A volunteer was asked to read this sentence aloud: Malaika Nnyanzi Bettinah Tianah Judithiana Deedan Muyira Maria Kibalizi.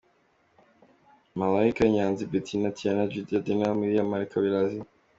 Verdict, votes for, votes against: accepted, 2, 1